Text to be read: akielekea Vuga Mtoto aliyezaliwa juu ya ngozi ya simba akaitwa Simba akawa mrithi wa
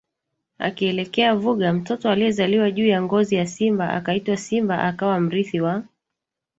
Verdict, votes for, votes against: rejected, 1, 2